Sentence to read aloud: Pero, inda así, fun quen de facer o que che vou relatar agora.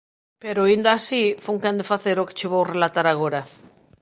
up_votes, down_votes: 2, 0